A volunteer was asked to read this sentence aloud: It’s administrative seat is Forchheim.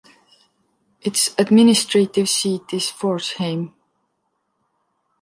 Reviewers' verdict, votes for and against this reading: accepted, 2, 0